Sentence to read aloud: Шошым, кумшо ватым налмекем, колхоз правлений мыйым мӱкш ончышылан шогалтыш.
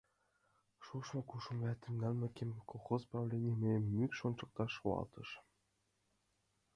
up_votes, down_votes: 0, 2